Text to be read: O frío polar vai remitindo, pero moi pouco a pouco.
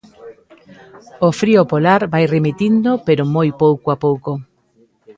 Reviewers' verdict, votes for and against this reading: rejected, 0, 2